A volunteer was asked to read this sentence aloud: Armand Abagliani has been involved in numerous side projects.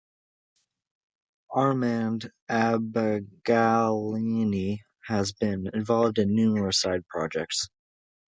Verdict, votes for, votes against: accepted, 2, 1